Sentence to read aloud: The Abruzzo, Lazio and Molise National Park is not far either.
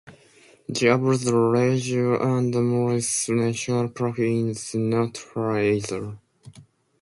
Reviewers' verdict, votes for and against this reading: accepted, 2, 0